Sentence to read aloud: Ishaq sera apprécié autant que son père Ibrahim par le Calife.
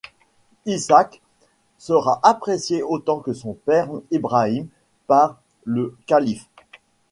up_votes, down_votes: 1, 2